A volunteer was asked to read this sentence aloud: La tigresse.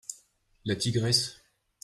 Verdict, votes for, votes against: accepted, 2, 0